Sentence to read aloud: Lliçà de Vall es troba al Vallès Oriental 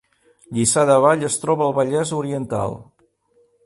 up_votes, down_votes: 3, 0